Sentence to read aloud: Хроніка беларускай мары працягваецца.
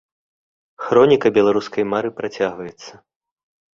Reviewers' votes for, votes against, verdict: 4, 0, accepted